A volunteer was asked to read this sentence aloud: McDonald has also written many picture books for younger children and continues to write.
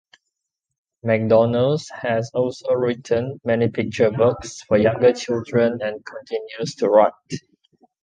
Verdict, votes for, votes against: accepted, 2, 1